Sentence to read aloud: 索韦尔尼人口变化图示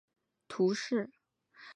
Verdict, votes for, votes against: rejected, 3, 5